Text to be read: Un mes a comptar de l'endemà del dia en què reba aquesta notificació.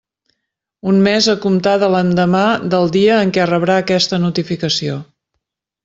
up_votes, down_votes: 0, 2